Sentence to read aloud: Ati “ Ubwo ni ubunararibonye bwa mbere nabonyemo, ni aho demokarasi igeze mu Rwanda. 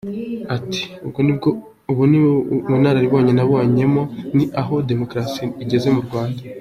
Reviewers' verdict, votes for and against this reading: accepted, 2, 1